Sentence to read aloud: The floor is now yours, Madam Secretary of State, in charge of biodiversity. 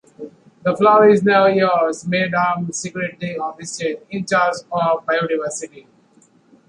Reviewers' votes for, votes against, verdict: 0, 2, rejected